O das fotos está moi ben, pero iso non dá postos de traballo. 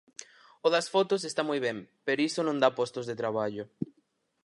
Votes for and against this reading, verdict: 6, 0, accepted